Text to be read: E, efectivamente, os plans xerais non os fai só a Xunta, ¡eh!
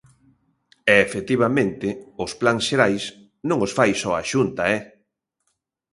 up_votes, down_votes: 2, 0